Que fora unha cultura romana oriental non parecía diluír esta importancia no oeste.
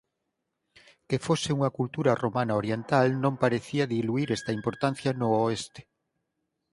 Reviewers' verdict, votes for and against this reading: rejected, 2, 4